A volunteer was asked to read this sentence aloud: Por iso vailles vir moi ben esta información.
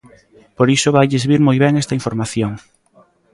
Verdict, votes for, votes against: accepted, 2, 0